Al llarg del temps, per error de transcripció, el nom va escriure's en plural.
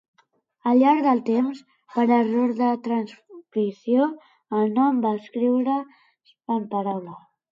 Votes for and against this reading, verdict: 0, 2, rejected